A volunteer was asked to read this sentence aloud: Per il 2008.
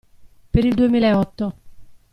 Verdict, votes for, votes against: rejected, 0, 2